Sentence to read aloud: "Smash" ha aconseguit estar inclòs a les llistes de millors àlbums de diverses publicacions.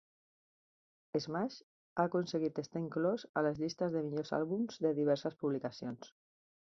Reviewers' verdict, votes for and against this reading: accepted, 3, 0